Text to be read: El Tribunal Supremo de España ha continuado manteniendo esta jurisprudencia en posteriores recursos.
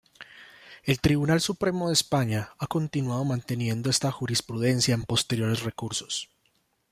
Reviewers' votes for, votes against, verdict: 0, 2, rejected